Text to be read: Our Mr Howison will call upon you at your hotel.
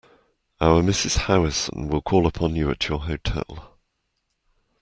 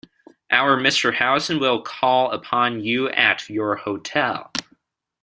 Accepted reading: second